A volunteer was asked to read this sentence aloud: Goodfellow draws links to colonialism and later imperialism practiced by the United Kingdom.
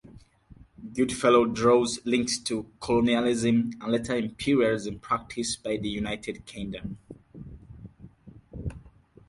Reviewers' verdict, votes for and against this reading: accepted, 4, 2